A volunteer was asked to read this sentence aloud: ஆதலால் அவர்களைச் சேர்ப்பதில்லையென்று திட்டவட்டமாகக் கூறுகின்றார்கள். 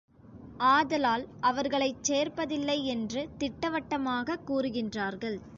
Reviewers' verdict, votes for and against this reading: accepted, 2, 0